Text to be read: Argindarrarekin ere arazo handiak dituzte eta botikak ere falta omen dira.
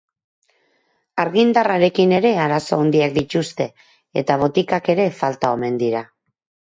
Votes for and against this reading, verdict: 0, 4, rejected